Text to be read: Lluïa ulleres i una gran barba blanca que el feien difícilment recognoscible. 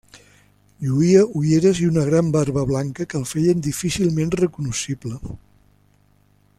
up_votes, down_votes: 2, 1